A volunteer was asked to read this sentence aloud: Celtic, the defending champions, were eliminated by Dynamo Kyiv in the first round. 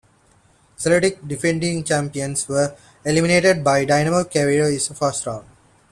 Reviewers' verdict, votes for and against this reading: rejected, 0, 2